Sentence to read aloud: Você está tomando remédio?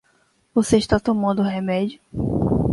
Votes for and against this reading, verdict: 2, 0, accepted